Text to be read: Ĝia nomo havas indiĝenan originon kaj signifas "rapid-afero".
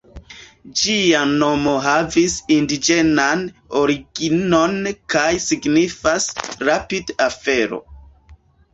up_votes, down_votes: 1, 2